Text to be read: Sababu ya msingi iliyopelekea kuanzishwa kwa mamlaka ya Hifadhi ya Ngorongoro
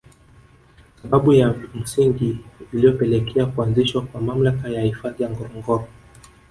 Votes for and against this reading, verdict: 1, 2, rejected